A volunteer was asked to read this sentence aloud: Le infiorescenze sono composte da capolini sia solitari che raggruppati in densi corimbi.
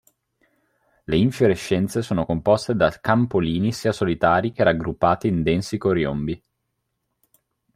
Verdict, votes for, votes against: rejected, 0, 2